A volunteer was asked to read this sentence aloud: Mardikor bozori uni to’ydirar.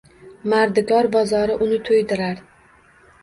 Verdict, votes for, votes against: rejected, 1, 2